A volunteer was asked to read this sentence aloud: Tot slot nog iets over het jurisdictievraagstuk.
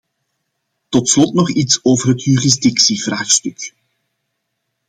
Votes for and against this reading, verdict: 2, 0, accepted